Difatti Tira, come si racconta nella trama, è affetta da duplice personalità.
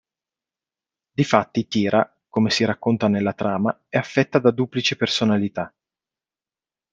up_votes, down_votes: 2, 0